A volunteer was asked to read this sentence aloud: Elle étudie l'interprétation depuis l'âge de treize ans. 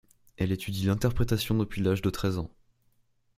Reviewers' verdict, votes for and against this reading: accepted, 2, 0